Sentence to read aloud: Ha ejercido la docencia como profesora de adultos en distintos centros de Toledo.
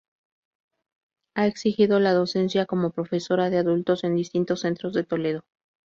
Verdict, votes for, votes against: rejected, 0, 2